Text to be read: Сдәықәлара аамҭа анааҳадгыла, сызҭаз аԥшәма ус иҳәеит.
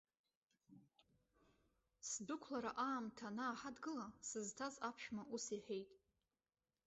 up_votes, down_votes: 0, 2